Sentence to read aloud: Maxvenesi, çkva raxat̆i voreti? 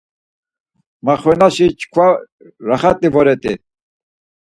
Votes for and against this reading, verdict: 4, 0, accepted